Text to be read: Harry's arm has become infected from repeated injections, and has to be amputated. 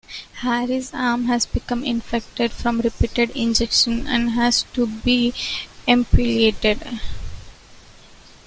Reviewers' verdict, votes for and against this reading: rejected, 1, 2